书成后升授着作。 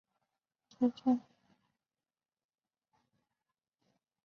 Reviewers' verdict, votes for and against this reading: rejected, 0, 4